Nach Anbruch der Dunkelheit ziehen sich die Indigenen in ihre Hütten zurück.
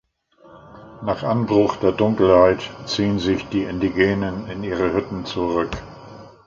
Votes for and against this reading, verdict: 2, 0, accepted